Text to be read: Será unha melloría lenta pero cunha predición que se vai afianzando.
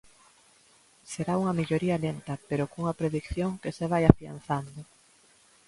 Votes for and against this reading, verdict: 2, 0, accepted